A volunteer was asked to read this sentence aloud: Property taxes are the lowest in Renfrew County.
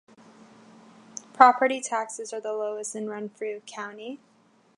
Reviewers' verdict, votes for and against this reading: accepted, 2, 0